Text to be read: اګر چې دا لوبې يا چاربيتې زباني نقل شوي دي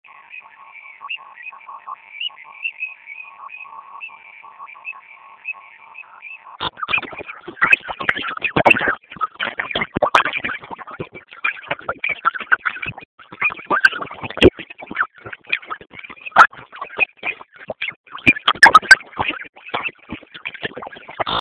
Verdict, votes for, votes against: rejected, 0, 2